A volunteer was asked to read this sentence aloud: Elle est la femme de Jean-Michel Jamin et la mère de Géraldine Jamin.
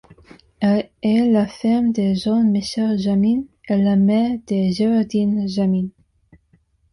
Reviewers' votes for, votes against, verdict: 0, 2, rejected